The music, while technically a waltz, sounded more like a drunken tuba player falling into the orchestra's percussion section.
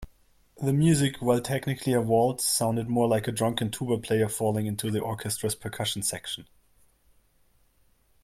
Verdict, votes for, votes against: accepted, 2, 0